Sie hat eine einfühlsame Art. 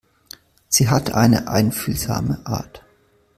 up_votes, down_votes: 3, 0